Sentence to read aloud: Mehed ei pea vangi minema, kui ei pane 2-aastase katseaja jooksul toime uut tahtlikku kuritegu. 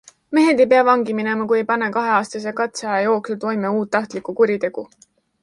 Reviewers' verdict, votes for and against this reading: rejected, 0, 2